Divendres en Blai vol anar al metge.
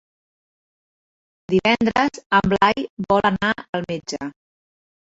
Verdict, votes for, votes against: accepted, 3, 2